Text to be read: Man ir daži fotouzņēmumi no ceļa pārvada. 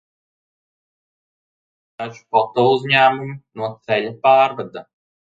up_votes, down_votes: 0, 2